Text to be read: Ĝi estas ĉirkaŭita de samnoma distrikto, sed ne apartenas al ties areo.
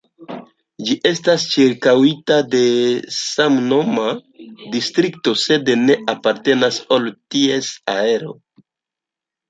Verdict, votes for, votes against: rejected, 1, 2